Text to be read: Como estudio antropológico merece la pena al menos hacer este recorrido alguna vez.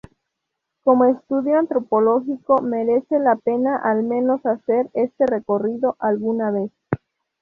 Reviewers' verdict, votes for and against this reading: accepted, 2, 0